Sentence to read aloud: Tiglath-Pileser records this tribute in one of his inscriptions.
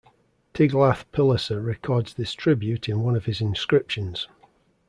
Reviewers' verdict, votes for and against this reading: accepted, 2, 0